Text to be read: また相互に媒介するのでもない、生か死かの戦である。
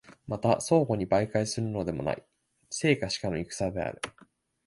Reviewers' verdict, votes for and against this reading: accepted, 2, 0